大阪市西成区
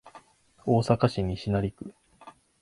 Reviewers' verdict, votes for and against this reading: accepted, 2, 0